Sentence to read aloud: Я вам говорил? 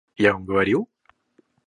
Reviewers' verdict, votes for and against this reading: rejected, 0, 2